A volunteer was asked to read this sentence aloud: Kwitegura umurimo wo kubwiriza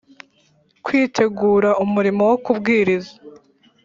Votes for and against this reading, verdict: 2, 0, accepted